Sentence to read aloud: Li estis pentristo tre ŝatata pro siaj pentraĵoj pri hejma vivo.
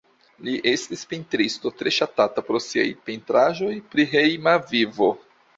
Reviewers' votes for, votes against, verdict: 2, 0, accepted